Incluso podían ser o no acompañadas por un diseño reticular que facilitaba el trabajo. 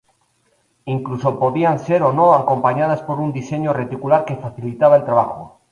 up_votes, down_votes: 0, 2